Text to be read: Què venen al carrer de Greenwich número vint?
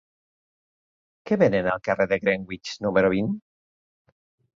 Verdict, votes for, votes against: rejected, 1, 2